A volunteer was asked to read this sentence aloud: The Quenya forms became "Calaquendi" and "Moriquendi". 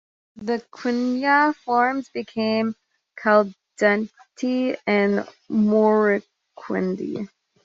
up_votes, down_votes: 1, 2